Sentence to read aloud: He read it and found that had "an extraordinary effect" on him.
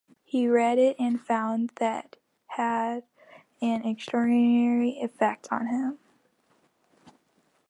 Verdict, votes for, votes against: rejected, 0, 2